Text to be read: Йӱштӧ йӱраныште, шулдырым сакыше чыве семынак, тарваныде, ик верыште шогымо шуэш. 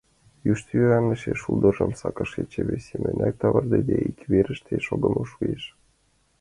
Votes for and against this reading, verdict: 1, 2, rejected